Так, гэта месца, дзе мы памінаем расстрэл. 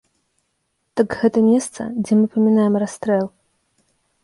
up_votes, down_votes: 3, 2